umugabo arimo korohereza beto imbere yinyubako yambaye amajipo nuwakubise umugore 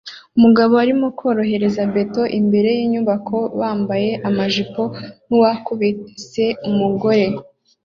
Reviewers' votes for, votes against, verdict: 2, 0, accepted